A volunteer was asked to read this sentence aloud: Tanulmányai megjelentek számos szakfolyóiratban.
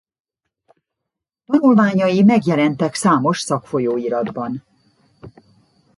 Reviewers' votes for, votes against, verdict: 0, 2, rejected